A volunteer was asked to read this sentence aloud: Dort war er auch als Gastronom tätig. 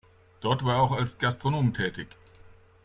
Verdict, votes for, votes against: accepted, 2, 0